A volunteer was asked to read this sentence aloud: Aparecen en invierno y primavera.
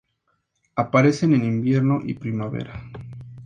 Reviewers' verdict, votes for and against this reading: accepted, 2, 0